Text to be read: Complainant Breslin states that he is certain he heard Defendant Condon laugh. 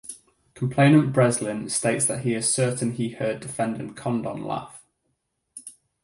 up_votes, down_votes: 4, 0